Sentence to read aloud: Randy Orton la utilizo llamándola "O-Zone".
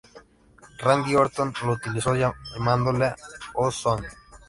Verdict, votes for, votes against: rejected, 0, 3